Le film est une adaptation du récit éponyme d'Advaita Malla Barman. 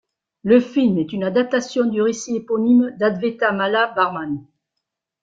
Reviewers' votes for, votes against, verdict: 0, 2, rejected